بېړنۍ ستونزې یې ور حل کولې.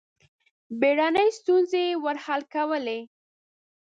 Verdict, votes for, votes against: accepted, 2, 0